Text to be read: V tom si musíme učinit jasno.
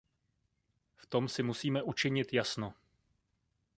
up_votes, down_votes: 0, 2